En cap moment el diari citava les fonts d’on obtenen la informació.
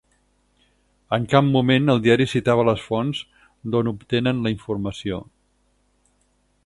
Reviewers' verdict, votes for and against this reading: accepted, 6, 0